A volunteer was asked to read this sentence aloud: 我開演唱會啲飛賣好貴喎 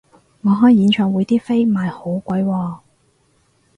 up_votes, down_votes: 4, 0